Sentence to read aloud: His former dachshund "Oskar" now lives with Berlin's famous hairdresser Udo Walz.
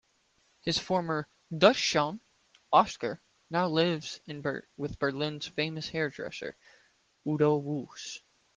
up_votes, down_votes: 1, 2